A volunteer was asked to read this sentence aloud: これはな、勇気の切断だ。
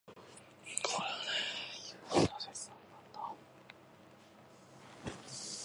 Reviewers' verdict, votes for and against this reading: rejected, 0, 2